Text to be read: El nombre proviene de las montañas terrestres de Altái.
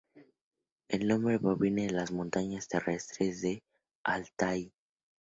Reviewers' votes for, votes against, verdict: 2, 0, accepted